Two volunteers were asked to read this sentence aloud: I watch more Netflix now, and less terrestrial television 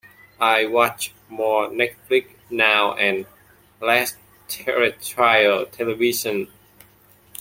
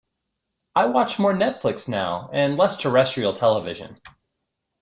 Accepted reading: second